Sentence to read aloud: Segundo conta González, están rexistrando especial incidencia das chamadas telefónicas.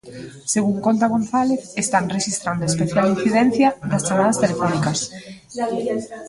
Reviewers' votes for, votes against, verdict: 0, 2, rejected